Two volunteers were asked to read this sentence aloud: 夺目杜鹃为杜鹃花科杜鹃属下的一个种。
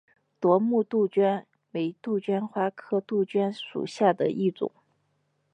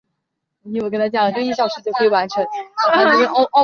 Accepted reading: first